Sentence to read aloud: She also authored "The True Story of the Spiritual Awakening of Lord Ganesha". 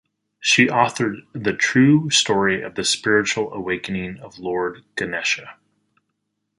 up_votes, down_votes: 2, 4